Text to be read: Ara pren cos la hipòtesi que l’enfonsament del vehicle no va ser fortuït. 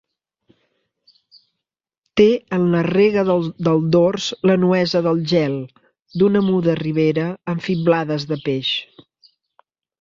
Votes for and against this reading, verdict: 0, 3, rejected